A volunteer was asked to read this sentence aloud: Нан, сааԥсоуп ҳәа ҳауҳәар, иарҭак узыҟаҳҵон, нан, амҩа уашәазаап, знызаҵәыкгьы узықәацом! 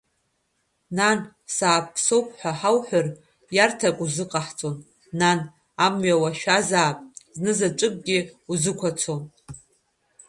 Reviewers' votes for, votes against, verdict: 2, 1, accepted